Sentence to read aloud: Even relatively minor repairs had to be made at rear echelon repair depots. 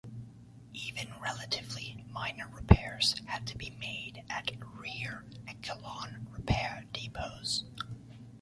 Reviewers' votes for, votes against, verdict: 0, 2, rejected